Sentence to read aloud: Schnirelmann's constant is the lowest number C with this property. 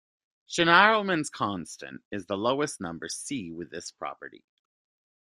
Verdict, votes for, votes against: accepted, 2, 0